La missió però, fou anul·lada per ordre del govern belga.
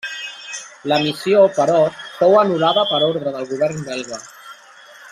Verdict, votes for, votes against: rejected, 1, 2